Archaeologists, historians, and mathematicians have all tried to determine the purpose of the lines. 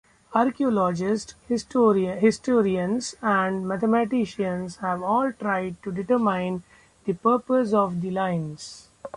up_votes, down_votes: 0, 2